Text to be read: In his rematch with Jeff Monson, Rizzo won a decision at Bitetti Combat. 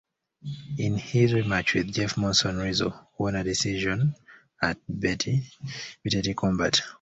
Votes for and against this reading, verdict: 0, 2, rejected